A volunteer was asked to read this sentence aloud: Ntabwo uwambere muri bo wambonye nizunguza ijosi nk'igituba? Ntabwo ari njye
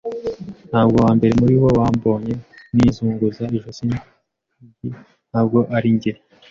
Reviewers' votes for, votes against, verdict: 1, 2, rejected